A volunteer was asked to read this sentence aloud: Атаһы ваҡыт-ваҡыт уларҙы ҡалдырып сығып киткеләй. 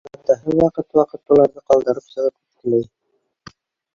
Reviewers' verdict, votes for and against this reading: rejected, 1, 2